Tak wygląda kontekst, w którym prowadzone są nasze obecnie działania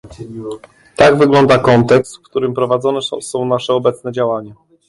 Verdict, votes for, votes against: rejected, 0, 2